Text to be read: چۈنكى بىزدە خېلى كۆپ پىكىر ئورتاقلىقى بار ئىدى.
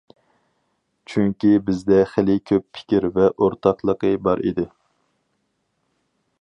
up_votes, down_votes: 0, 4